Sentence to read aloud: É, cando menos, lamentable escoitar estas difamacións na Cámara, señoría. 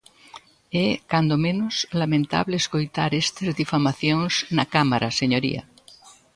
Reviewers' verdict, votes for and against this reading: accepted, 2, 0